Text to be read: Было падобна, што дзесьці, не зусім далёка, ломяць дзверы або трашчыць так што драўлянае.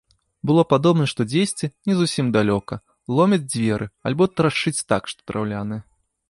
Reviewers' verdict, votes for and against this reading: rejected, 2, 3